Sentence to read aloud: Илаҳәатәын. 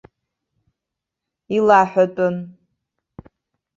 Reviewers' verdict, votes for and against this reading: accepted, 3, 0